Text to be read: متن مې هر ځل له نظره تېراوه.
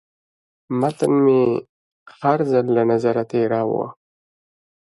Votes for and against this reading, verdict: 2, 0, accepted